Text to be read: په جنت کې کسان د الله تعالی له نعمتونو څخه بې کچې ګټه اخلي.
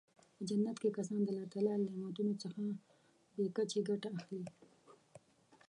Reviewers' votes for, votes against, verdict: 0, 2, rejected